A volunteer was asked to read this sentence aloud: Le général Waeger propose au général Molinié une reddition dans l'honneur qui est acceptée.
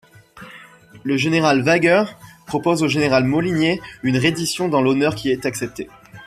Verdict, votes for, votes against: accepted, 2, 0